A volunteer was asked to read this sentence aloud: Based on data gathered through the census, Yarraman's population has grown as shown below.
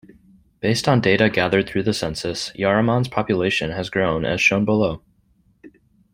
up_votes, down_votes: 2, 0